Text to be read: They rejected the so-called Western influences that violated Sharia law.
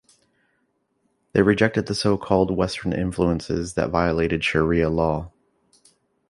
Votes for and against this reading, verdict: 2, 0, accepted